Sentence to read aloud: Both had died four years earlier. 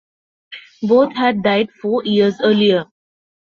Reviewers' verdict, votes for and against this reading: accepted, 2, 0